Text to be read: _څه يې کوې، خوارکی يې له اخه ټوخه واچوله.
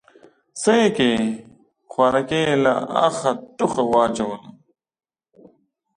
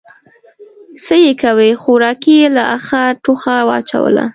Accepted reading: first